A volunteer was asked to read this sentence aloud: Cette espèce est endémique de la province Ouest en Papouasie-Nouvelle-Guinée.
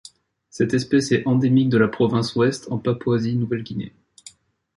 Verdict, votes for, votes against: accepted, 2, 0